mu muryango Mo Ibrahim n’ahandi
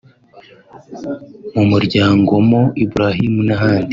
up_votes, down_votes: 3, 0